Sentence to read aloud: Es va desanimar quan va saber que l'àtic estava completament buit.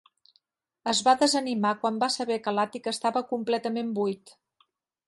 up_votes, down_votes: 3, 0